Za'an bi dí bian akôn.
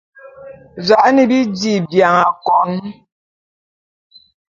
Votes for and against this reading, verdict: 2, 0, accepted